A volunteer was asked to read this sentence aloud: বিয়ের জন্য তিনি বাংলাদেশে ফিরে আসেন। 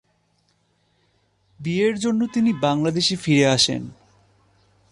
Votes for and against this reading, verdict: 2, 0, accepted